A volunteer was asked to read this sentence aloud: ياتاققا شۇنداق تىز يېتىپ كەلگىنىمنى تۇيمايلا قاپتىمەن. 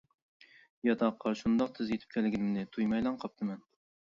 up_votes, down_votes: 1, 2